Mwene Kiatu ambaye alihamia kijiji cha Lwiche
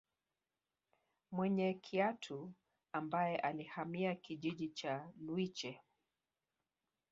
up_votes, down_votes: 2, 0